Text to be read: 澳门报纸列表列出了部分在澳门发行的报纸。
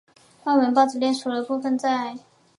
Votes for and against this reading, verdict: 0, 2, rejected